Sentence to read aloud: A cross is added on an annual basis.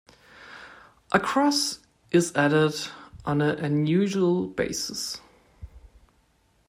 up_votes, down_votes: 0, 2